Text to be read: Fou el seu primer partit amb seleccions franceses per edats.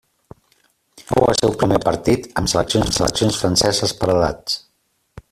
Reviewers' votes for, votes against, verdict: 0, 2, rejected